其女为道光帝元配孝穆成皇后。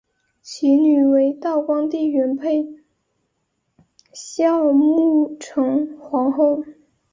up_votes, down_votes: 3, 0